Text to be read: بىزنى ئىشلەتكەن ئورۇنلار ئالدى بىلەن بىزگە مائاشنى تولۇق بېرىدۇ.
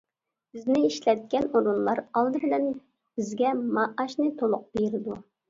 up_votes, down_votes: 2, 0